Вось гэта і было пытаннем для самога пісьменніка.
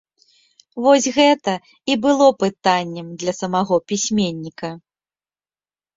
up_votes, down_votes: 1, 2